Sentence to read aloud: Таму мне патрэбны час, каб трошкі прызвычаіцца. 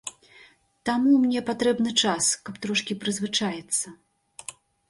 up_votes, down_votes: 2, 0